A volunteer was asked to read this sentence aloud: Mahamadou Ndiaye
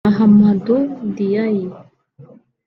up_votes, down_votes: 1, 2